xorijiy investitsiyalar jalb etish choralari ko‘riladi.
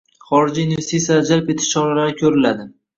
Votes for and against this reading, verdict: 1, 2, rejected